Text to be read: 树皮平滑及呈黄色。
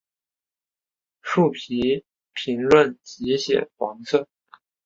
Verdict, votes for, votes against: accepted, 3, 0